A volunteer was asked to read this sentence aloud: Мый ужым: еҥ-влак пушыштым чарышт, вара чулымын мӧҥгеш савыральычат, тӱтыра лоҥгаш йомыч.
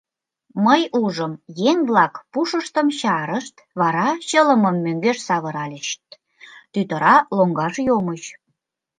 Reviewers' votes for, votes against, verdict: 0, 2, rejected